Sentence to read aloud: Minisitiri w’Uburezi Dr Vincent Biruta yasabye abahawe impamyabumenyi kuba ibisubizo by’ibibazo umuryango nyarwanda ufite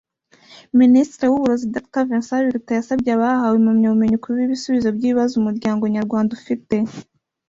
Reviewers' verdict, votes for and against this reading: rejected, 1, 2